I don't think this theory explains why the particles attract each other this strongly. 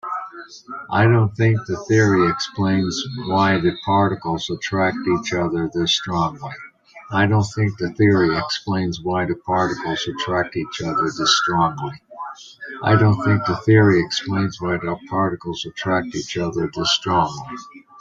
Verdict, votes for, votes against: rejected, 0, 2